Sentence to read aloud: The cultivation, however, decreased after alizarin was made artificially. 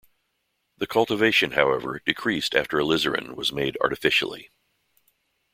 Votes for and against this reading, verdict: 2, 0, accepted